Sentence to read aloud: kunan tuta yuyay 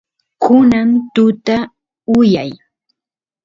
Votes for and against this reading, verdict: 2, 0, accepted